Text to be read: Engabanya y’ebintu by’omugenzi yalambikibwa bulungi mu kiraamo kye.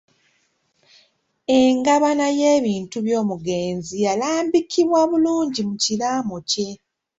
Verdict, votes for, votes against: rejected, 1, 2